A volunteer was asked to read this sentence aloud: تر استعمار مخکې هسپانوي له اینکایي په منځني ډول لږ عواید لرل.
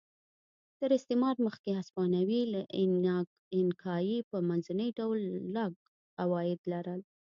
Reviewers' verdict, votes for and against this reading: rejected, 0, 2